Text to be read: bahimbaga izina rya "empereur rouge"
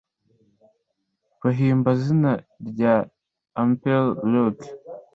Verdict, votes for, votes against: rejected, 1, 2